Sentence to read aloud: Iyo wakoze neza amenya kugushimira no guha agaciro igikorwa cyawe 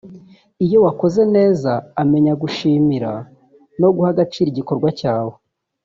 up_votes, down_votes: 1, 2